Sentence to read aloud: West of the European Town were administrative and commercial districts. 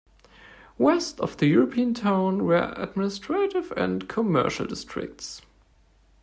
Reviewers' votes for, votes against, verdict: 2, 0, accepted